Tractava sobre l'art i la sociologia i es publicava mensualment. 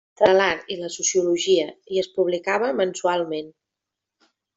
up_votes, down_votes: 0, 2